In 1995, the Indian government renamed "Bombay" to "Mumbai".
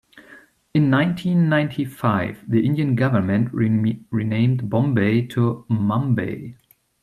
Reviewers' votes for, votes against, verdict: 0, 2, rejected